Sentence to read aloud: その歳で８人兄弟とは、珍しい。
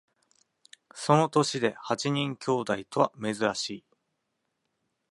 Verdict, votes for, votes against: rejected, 0, 2